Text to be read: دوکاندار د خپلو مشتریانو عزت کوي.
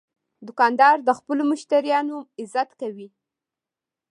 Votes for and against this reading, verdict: 2, 0, accepted